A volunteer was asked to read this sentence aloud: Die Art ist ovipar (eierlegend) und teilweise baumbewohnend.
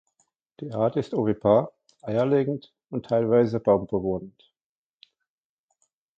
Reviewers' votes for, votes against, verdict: 2, 0, accepted